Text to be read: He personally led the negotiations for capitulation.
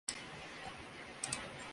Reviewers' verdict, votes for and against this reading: rejected, 0, 2